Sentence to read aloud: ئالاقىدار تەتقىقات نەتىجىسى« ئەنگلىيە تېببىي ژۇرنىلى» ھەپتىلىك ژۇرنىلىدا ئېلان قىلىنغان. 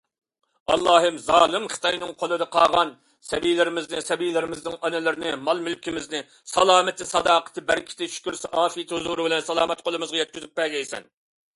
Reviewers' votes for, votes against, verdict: 0, 2, rejected